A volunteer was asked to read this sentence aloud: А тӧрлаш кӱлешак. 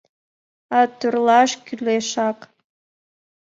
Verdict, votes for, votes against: accepted, 2, 0